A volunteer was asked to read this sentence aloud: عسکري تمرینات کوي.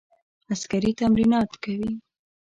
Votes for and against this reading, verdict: 2, 0, accepted